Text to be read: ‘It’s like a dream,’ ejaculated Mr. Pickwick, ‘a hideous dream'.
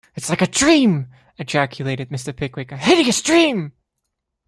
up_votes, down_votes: 2, 0